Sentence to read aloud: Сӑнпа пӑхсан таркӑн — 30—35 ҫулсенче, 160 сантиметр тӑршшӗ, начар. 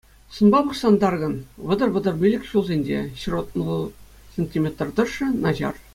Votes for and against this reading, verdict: 0, 2, rejected